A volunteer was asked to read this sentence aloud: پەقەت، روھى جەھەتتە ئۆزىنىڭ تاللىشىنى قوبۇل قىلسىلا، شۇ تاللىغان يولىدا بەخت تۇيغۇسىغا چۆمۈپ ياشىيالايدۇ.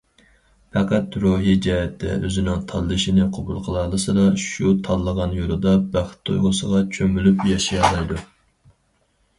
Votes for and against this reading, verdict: 0, 4, rejected